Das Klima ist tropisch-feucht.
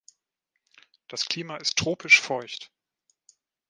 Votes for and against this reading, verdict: 1, 2, rejected